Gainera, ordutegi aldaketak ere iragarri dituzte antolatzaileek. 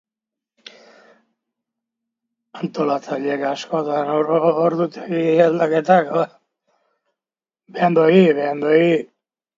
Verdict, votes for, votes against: rejected, 0, 2